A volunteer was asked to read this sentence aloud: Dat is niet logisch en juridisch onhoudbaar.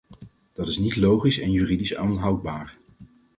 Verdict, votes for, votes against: rejected, 0, 4